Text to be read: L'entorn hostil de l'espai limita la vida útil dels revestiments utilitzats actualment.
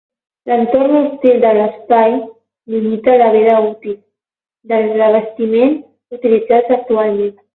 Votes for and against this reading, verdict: 12, 0, accepted